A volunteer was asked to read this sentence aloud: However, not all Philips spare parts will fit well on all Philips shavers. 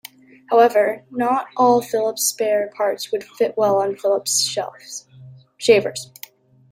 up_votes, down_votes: 0, 2